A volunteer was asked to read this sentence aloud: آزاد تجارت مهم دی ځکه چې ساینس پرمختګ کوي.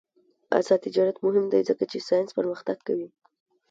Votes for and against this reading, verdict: 1, 2, rejected